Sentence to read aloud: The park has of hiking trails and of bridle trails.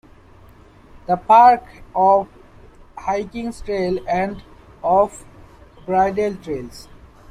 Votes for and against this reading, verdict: 0, 2, rejected